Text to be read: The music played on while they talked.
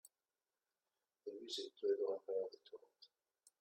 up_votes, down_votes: 1, 2